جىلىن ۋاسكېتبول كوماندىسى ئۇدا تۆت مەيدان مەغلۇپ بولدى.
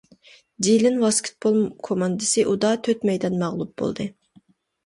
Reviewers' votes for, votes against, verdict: 2, 0, accepted